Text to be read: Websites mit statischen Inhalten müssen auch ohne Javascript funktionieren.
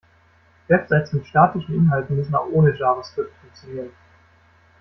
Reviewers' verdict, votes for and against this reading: accepted, 2, 0